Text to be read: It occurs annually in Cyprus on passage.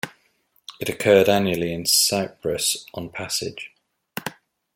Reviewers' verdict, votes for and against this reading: rejected, 0, 2